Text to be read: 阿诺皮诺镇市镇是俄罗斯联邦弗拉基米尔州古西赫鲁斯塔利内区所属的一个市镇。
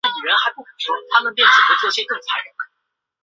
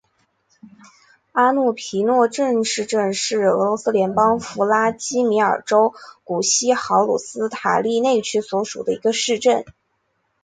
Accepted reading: second